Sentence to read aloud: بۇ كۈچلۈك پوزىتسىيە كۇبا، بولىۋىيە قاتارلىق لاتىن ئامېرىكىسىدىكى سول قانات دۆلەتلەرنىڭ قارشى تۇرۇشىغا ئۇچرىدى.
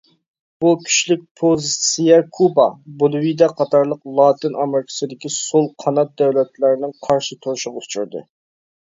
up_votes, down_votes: 1, 2